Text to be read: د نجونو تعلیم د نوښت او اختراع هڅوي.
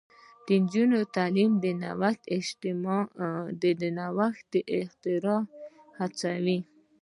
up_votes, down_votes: 0, 2